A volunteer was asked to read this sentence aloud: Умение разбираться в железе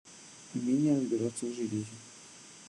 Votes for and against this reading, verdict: 1, 2, rejected